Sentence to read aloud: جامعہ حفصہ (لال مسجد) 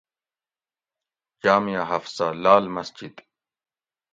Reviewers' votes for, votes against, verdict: 2, 0, accepted